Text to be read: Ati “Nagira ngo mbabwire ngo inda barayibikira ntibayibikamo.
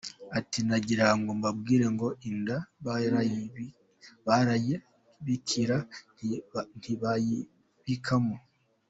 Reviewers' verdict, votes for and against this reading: rejected, 1, 2